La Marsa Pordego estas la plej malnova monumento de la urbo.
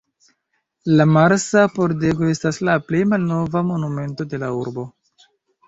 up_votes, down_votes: 2, 1